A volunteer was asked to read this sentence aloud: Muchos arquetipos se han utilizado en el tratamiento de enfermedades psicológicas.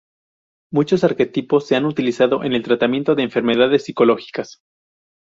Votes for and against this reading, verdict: 2, 0, accepted